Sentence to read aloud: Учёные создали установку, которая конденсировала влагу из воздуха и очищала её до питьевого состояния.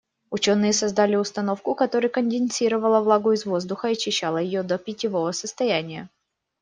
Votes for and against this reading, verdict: 2, 0, accepted